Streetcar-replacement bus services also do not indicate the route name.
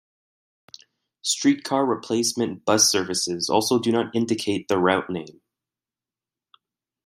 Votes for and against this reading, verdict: 2, 0, accepted